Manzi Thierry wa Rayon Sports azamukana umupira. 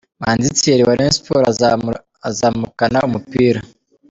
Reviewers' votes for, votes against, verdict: 2, 1, accepted